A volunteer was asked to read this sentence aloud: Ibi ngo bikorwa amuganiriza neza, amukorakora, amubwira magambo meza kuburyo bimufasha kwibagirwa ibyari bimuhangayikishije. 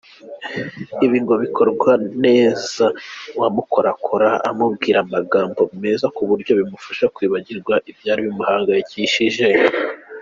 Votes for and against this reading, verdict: 0, 2, rejected